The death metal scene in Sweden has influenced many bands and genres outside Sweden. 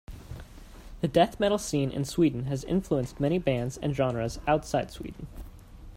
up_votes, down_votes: 2, 0